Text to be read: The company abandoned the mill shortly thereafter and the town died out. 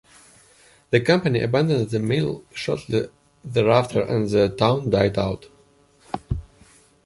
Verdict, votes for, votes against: accepted, 2, 0